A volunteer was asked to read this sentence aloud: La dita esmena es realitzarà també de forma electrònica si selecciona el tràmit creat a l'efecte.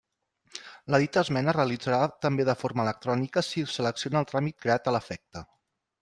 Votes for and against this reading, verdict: 2, 1, accepted